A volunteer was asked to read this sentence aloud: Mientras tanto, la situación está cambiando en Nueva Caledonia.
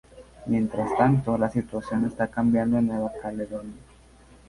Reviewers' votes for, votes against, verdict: 2, 0, accepted